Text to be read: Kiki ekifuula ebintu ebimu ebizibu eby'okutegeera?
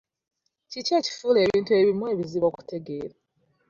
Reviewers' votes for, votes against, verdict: 1, 3, rejected